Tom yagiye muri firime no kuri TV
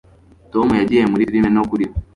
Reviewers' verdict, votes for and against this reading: rejected, 0, 2